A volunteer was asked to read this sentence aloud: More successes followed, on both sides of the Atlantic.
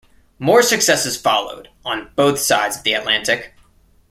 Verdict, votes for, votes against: accepted, 2, 1